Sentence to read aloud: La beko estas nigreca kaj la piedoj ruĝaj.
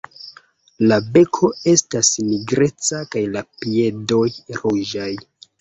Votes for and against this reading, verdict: 0, 2, rejected